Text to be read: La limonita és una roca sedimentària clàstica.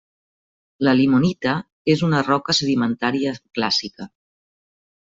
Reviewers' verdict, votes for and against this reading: rejected, 0, 2